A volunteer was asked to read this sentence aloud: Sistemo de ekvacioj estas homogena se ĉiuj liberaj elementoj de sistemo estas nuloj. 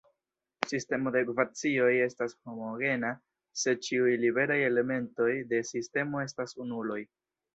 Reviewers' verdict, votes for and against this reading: rejected, 1, 2